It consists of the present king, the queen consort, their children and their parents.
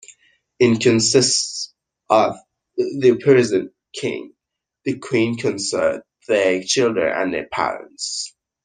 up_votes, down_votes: 0, 2